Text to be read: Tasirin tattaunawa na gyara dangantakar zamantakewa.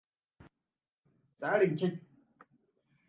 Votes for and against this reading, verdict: 0, 2, rejected